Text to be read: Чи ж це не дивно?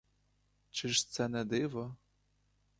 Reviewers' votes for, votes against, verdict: 0, 2, rejected